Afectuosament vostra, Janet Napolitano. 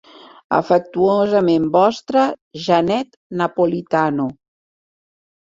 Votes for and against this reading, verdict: 2, 0, accepted